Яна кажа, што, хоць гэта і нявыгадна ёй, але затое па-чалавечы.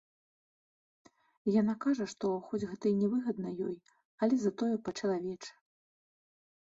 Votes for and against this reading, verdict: 2, 0, accepted